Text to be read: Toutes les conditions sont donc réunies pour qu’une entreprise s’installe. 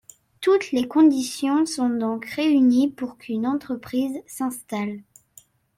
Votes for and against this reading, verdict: 2, 0, accepted